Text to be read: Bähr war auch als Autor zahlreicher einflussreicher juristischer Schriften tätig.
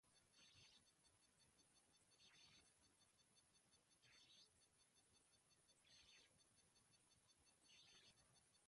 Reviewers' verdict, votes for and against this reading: rejected, 0, 2